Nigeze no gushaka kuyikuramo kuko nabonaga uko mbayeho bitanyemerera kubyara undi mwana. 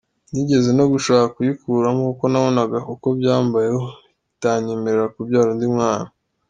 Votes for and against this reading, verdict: 2, 1, accepted